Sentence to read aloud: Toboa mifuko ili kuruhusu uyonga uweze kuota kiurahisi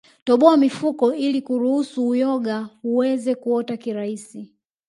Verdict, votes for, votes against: rejected, 2, 3